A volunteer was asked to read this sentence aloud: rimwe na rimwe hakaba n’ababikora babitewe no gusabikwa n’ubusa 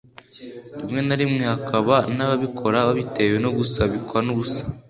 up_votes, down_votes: 4, 0